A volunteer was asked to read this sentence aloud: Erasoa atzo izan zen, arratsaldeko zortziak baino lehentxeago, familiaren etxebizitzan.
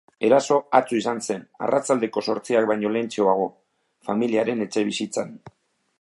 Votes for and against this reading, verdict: 2, 3, rejected